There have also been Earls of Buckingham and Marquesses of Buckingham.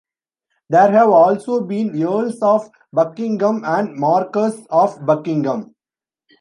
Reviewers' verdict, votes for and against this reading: rejected, 1, 2